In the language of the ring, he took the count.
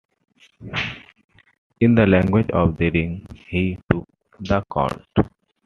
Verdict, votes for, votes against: accepted, 2, 0